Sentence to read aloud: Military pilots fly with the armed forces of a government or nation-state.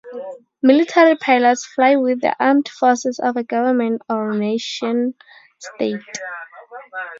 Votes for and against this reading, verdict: 2, 4, rejected